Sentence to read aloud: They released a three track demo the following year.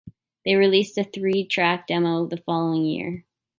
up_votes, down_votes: 2, 0